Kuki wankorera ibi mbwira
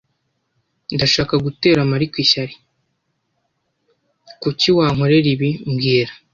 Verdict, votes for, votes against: rejected, 1, 2